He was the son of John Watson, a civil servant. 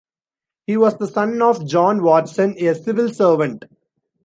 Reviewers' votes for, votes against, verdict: 2, 0, accepted